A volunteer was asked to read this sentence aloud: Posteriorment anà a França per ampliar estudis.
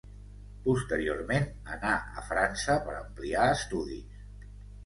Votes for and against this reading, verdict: 2, 0, accepted